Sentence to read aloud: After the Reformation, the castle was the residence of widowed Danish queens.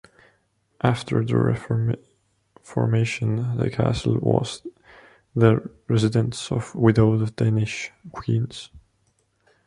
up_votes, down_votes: 1, 2